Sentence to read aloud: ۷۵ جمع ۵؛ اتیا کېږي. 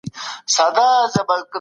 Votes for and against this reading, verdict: 0, 2, rejected